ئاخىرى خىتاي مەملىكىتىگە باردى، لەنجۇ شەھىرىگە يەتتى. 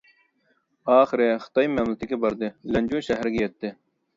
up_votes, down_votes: 1, 2